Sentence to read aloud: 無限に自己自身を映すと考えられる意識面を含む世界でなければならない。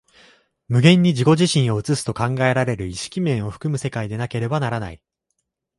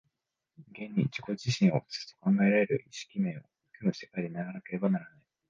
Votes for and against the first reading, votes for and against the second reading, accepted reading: 2, 0, 0, 2, first